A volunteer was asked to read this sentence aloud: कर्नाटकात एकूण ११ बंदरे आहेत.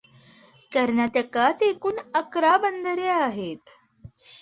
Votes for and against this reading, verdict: 0, 2, rejected